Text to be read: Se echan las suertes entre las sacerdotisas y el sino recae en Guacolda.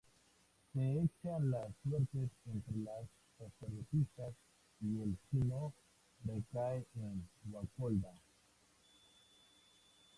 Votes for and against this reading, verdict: 0, 2, rejected